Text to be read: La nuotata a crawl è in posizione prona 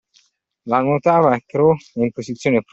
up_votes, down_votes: 0, 2